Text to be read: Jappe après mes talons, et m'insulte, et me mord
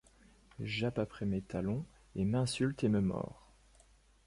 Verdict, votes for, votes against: accepted, 2, 0